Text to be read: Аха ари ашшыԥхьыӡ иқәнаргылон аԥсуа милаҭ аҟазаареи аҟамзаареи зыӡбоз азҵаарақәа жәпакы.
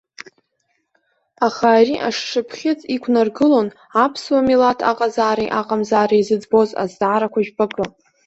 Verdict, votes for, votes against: accepted, 2, 1